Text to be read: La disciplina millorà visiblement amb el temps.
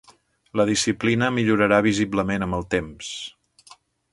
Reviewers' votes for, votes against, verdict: 0, 2, rejected